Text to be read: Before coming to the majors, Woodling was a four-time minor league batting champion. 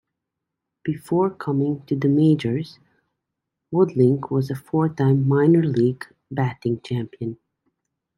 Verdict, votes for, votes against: accepted, 2, 0